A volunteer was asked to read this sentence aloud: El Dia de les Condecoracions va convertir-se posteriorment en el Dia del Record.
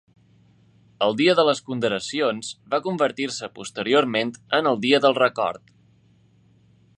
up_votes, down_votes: 0, 2